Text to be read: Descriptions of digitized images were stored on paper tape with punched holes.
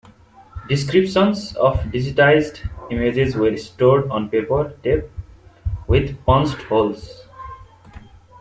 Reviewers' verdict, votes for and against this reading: rejected, 1, 2